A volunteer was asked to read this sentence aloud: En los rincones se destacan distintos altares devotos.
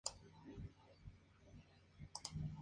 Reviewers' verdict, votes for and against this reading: accepted, 2, 0